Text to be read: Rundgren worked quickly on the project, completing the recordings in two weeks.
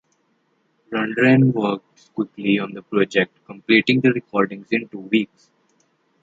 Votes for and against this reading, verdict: 1, 2, rejected